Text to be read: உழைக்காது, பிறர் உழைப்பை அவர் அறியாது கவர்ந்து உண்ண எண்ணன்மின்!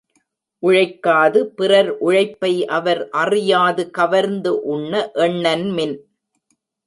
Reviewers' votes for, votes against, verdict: 2, 0, accepted